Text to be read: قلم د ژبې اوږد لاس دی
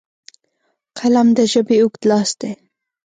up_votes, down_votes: 2, 0